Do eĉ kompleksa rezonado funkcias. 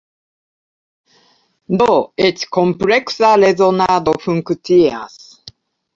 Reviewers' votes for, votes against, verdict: 1, 2, rejected